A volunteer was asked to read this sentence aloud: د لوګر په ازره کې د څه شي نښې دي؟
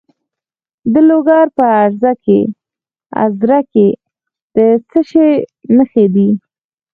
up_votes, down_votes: 2, 4